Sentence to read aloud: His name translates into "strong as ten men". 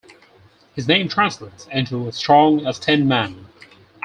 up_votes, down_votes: 4, 2